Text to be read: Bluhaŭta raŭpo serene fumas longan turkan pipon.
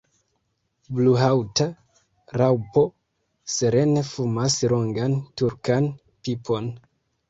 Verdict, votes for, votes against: rejected, 0, 2